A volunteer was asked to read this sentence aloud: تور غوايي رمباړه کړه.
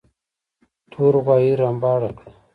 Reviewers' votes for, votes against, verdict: 2, 1, accepted